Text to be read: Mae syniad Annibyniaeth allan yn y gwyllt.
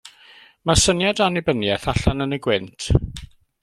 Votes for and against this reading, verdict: 1, 2, rejected